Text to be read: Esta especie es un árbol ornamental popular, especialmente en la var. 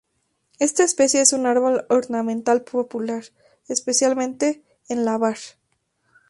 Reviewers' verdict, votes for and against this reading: accepted, 4, 0